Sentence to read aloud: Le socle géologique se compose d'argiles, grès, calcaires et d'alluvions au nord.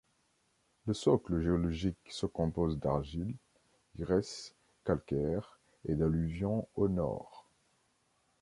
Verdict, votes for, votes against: rejected, 1, 2